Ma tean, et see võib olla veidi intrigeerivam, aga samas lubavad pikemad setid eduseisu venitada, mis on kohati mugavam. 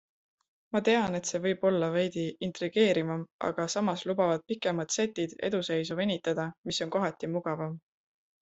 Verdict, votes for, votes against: accepted, 2, 0